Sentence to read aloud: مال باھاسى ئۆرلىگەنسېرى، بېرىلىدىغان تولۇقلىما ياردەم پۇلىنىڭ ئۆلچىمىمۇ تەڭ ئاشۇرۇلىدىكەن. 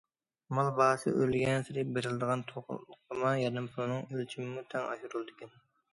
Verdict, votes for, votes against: rejected, 1, 2